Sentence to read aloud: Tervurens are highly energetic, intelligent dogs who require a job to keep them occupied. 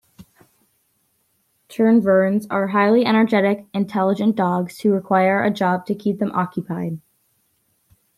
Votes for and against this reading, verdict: 2, 0, accepted